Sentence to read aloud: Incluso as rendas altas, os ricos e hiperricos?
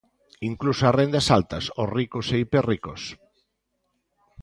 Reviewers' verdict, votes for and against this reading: accepted, 2, 0